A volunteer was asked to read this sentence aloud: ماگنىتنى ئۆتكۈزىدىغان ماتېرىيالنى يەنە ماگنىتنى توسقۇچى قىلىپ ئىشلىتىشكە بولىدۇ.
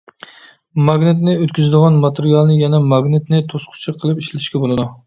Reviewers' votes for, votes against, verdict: 2, 0, accepted